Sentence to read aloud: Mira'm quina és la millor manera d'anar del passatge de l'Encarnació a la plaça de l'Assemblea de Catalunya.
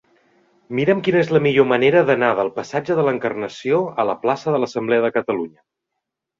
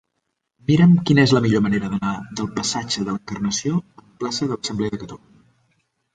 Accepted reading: first